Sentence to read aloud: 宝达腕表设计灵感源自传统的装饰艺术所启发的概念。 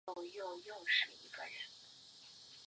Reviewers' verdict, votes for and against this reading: rejected, 0, 4